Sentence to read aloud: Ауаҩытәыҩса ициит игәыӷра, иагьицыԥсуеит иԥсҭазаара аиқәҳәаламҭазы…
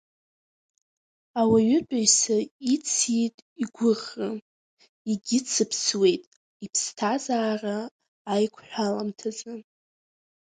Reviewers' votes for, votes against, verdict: 2, 1, accepted